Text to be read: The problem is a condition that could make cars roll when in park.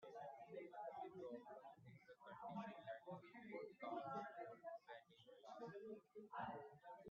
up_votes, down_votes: 0, 2